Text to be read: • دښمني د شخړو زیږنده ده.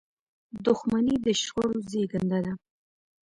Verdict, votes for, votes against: accepted, 2, 0